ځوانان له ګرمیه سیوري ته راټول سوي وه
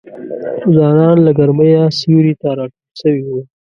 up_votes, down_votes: 1, 2